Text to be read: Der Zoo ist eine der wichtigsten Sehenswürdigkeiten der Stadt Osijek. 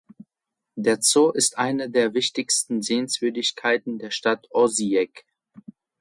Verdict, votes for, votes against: accepted, 2, 0